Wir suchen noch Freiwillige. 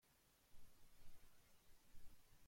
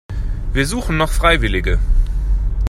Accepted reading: second